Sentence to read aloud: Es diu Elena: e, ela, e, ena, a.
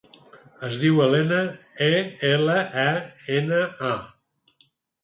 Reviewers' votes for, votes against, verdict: 4, 0, accepted